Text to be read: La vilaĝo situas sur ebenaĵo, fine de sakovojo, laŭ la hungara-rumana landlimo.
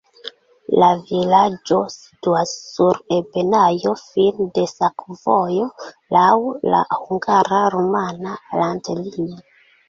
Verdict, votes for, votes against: rejected, 0, 2